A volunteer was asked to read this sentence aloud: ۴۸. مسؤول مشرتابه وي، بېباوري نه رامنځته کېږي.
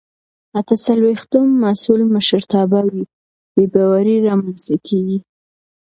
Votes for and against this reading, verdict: 0, 2, rejected